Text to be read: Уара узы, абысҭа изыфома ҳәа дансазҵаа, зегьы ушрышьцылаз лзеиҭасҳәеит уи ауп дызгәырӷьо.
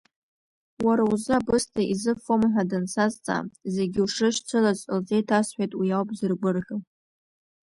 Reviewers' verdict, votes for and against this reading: rejected, 1, 2